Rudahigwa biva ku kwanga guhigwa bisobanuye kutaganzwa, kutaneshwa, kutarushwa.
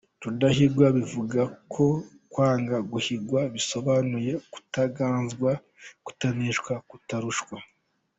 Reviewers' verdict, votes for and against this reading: accepted, 3, 1